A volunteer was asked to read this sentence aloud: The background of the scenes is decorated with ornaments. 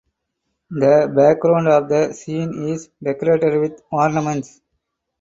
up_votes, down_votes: 4, 2